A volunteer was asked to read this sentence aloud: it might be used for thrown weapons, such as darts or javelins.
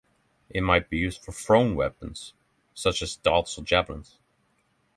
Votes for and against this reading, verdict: 3, 0, accepted